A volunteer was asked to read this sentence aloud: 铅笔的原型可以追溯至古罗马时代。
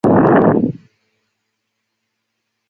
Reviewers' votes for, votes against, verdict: 0, 2, rejected